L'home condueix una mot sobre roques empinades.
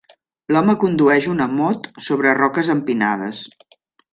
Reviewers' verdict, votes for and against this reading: accepted, 3, 0